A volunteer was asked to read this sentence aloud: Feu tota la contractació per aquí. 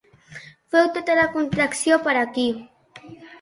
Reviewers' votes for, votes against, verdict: 0, 2, rejected